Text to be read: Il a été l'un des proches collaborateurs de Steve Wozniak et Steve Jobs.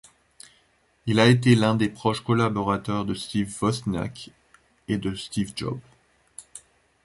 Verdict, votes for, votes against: rejected, 0, 2